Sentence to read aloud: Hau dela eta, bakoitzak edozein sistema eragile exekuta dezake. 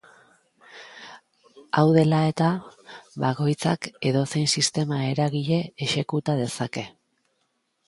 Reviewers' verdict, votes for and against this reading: accepted, 2, 0